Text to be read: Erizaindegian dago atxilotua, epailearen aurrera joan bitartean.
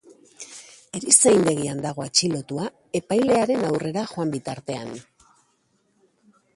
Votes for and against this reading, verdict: 1, 2, rejected